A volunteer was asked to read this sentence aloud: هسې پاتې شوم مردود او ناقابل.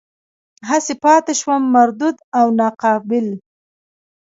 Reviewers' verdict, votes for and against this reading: rejected, 1, 2